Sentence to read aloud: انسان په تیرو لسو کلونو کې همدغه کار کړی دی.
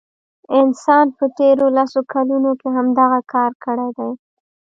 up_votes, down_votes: 1, 2